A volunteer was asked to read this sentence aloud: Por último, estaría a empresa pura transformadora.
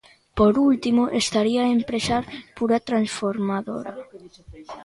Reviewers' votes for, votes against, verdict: 1, 2, rejected